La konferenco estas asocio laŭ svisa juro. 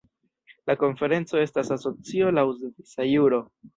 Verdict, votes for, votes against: rejected, 1, 2